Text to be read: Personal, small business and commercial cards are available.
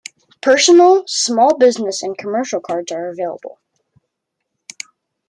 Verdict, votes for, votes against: accepted, 2, 0